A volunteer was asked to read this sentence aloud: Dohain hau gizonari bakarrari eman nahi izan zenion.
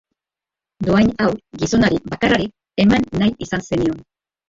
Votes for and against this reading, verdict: 0, 2, rejected